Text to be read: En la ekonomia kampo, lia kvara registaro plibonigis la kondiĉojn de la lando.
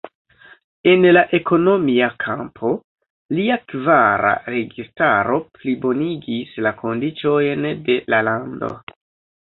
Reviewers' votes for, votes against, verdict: 0, 2, rejected